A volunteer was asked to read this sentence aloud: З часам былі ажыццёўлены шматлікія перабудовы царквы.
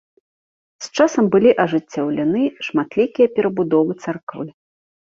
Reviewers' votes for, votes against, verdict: 1, 2, rejected